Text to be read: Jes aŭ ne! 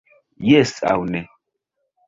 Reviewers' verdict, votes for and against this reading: rejected, 0, 2